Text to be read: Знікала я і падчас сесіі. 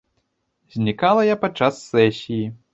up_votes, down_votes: 1, 2